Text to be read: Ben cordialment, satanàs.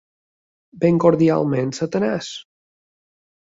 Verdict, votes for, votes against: accepted, 2, 0